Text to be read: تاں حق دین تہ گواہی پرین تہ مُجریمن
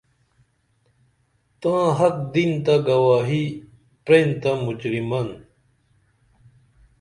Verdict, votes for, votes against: accepted, 2, 0